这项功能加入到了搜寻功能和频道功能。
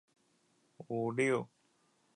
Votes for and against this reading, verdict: 0, 2, rejected